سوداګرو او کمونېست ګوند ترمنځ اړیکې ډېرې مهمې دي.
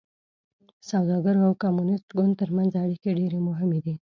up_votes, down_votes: 1, 2